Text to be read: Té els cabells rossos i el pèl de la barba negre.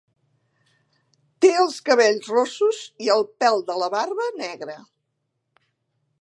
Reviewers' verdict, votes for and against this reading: accepted, 3, 0